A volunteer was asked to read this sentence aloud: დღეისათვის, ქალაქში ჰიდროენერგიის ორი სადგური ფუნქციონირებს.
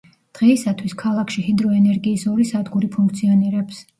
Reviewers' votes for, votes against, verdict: 2, 0, accepted